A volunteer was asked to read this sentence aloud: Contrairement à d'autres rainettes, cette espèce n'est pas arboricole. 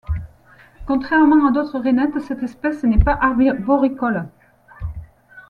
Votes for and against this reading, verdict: 1, 2, rejected